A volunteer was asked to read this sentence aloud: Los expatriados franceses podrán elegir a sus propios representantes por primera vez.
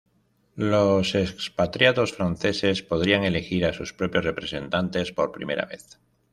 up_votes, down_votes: 1, 2